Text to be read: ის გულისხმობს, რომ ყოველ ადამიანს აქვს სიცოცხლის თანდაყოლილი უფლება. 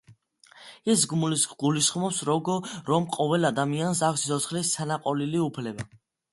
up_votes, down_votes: 2, 0